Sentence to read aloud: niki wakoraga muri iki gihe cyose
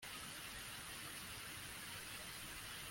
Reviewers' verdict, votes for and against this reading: rejected, 0, 2